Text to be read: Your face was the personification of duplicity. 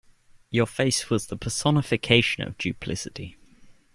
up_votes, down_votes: 2, 0